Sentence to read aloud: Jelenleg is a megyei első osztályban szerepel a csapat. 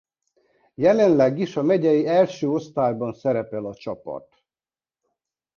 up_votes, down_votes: 3, 0